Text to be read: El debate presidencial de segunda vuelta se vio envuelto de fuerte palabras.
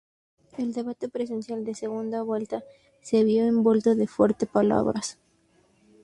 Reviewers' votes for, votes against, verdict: 2, 0, accepted